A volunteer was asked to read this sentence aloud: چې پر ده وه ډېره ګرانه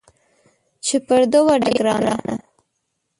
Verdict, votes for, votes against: rejected, 1, 2